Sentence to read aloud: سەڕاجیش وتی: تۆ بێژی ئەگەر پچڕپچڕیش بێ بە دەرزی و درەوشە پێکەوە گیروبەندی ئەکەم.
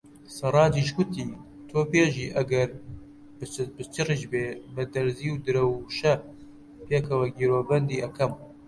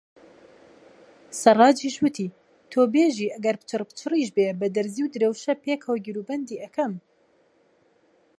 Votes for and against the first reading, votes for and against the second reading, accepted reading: 0, 2, 2, 0, second